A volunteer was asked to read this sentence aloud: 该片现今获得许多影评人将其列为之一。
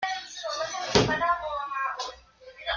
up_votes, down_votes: 0, 2